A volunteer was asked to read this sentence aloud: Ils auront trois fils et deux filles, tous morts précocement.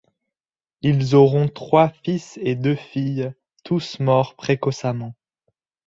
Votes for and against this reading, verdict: 0, 2, rejected